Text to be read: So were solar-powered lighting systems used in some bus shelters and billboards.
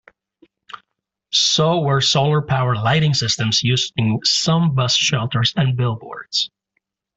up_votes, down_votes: 2, 0